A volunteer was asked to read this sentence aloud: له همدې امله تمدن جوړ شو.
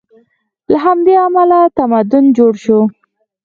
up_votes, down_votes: 4, 0